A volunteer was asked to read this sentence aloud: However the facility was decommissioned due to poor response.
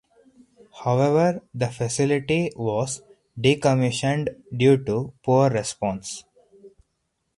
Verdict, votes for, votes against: accepted, 4, 0